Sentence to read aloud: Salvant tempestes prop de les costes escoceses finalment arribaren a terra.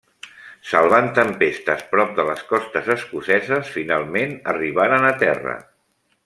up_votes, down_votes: 3, 0